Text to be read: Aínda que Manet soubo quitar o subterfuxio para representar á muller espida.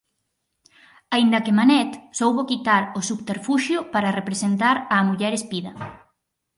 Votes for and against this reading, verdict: 4, 0, accepted